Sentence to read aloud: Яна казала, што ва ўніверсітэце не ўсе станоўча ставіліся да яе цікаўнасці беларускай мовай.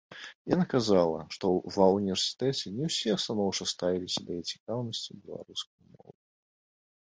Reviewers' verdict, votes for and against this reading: rejected, 0, 2